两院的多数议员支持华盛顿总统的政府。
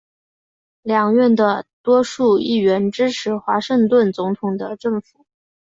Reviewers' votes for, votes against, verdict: 5, 0, accepted